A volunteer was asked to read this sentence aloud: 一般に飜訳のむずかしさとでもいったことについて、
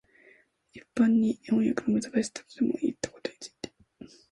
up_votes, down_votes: 0, 2